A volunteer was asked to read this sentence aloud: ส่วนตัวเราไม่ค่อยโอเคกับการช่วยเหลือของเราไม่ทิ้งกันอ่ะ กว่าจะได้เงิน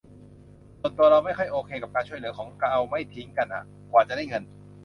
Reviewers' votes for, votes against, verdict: 0, 2, rejected